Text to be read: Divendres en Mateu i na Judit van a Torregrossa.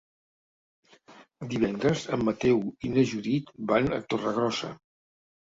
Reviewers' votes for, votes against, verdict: 3, 0, accepted